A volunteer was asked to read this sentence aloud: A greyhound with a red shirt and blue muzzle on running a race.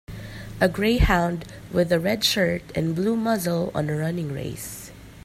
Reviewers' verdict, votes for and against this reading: rejected, 1, 3